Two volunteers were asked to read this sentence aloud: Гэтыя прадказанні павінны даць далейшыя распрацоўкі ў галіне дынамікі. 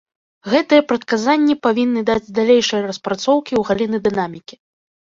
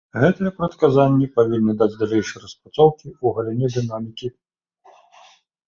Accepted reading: second